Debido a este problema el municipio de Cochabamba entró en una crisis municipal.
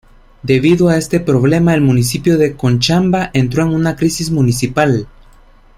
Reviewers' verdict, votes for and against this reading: rejected, 0, 2